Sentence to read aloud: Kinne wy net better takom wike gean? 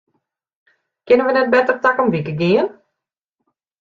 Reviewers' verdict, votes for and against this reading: rejected, 0, 2